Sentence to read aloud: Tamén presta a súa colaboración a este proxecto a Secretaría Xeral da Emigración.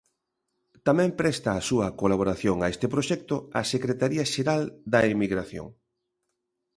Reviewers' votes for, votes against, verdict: 2, 0, accepted